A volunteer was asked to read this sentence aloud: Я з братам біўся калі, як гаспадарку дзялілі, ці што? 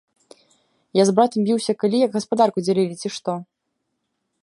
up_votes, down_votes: 2, 0